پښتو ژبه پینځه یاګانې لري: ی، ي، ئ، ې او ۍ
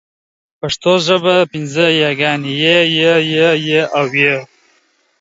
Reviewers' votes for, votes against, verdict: 2, 0, accepted